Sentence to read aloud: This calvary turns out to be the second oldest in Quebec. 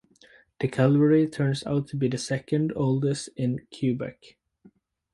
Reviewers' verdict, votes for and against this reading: rejected, 0, 4